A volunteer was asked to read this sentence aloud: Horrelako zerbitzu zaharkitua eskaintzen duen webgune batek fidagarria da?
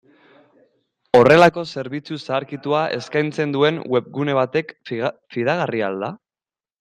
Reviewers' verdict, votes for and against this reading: rejected, 0, 2